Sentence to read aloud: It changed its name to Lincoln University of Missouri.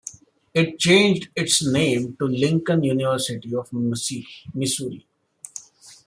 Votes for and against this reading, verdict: 0, 2, rejected